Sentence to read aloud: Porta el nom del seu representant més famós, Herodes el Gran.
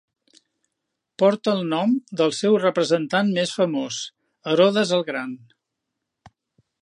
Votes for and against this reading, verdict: 3, 0, accepted